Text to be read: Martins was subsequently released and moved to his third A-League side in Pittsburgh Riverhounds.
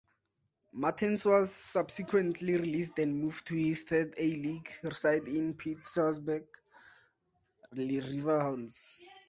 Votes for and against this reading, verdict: 0, 2, rejected